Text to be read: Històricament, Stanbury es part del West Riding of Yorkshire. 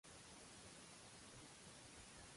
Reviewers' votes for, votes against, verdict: 0, 2, rejected